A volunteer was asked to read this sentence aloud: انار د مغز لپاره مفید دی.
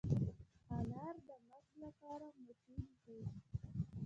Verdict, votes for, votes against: accepted, 2, 0